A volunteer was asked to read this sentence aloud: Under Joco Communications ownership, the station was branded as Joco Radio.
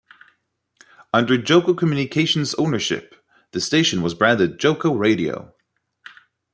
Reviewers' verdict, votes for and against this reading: rejected, 1, 2